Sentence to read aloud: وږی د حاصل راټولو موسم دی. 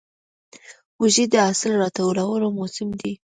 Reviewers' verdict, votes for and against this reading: accepted, 2, 0